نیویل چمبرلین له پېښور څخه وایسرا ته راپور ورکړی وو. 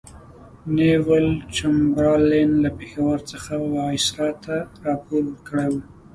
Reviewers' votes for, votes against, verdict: 2, 0, accepted